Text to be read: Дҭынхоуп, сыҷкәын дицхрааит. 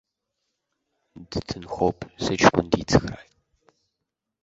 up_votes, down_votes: 2, 1